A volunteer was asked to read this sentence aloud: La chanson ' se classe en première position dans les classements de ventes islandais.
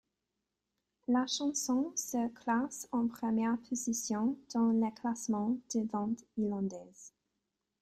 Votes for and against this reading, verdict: 1, 2, rejected